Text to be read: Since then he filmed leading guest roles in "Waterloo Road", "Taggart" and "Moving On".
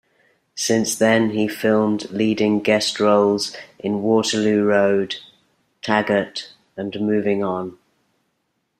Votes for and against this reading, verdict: 2, 0, accepted